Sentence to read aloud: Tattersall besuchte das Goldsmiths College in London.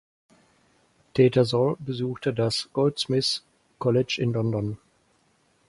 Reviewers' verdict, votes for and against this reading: rejected, 0, 4